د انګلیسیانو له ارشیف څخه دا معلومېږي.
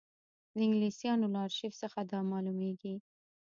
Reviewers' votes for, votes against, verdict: 1, 2, rejected